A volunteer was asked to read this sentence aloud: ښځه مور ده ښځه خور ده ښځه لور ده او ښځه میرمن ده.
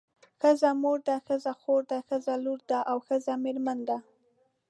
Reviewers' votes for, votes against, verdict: 2, 0, accepted